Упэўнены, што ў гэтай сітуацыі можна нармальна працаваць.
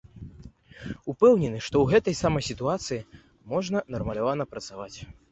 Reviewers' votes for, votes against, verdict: 0, 2, rejected